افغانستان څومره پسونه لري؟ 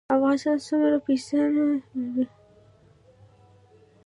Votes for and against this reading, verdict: 1, 2, rejected